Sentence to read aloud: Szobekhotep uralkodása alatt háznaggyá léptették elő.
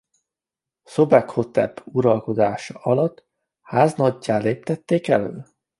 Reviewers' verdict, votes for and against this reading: accepted, 2, 1